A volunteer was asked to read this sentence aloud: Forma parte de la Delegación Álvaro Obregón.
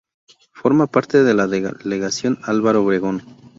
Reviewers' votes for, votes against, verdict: 0, 2, rejected